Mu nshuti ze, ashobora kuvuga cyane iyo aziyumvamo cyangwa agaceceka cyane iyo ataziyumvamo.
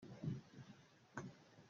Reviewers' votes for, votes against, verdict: 0, 2, rejected